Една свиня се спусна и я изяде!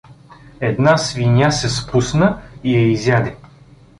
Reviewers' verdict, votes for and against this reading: accepted, 2, 0